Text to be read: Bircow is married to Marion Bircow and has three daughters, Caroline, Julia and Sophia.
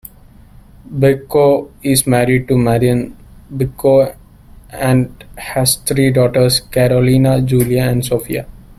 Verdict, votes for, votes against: rejected, 1, 2